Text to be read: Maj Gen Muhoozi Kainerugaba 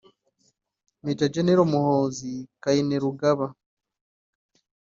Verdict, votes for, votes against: rejected, 1, 2